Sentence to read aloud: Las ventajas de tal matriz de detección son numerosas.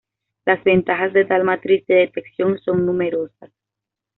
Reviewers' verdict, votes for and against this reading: accepted, 2, 0